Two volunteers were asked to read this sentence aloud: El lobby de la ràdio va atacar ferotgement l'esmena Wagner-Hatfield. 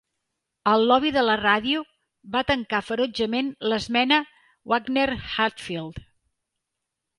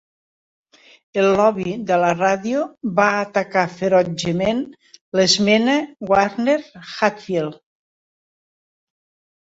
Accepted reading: second